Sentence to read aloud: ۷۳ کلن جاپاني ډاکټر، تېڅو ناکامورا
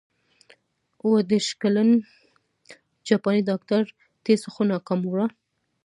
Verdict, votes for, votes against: rejected, 0, 2